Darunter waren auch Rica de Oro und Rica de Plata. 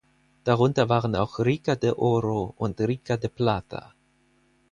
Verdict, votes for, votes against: accepted, 4, 0